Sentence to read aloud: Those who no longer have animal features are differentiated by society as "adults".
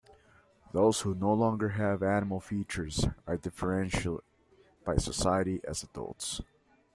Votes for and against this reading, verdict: 0, 2, rejected